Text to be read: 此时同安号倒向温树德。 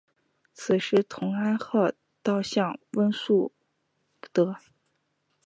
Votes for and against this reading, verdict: 2, 0, accepted